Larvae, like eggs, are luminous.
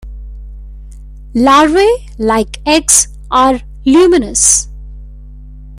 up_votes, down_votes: 1, 2